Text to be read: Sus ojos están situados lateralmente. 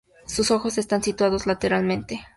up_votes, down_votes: 2, 0